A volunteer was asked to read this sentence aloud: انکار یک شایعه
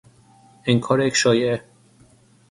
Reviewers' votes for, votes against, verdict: 3, 6, rejected